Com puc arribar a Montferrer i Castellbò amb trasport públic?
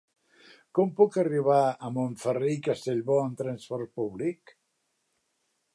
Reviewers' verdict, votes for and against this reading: accepted, 4, 0